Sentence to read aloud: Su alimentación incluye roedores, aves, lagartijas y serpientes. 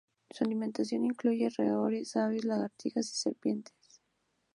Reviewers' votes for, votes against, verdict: 4, 0, accepted